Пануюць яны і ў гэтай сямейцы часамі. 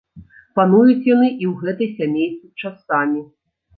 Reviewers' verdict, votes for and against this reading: rejected, 1, 2